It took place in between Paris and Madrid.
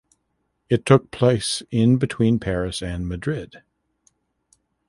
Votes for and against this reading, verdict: 2, 0, accepted